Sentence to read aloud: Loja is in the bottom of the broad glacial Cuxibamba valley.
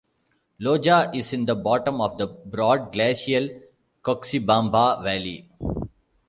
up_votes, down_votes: 2, 0